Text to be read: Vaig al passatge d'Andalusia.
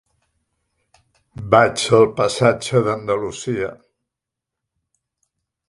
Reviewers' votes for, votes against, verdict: 2, 3, rejected